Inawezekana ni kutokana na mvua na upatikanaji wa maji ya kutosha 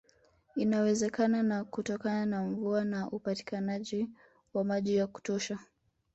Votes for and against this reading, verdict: 0, 2, rejected